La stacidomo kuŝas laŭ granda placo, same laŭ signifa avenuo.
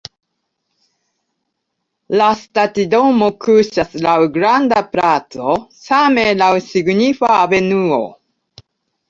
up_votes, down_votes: 1, 2